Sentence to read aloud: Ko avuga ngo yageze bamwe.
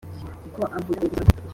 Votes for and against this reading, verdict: 0, 2, rejected